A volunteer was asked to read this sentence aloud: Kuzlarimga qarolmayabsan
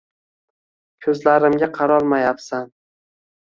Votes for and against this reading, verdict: 2, 0, accepted